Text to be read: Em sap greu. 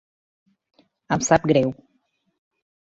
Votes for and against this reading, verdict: 2, 0, accepted